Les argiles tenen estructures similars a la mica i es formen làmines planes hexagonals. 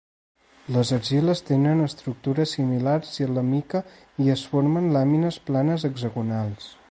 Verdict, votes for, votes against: rejected, 1, 2